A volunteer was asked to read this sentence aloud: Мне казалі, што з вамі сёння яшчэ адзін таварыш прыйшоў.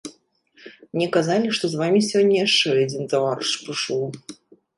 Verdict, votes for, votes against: accepted, 2, 1